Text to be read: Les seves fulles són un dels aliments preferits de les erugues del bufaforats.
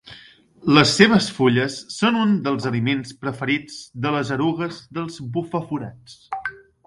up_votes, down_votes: 0, 2